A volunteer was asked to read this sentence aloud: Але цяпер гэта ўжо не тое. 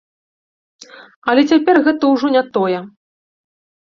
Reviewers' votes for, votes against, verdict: 2, 0, accepted